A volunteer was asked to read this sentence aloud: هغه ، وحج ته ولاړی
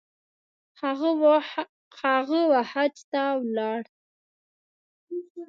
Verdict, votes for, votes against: rejected, 1, 2